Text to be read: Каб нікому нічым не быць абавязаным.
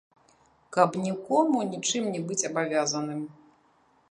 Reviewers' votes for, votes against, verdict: 1, 2, rejected